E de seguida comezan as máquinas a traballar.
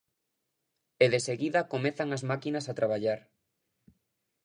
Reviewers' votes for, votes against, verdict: 2, 0, accepted